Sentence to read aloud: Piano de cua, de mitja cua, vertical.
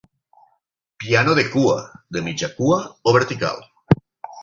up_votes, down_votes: 0, 6